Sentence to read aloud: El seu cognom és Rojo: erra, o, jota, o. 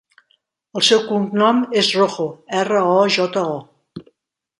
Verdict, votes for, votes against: accepted, 2, 0